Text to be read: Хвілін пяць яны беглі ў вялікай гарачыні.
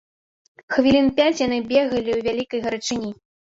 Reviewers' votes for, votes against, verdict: 1, 2, rejected